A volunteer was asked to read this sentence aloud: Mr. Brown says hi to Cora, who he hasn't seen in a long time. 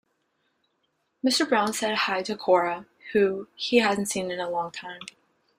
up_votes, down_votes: 0, 2